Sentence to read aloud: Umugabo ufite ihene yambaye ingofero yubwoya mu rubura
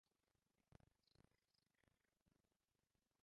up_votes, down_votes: 0, 2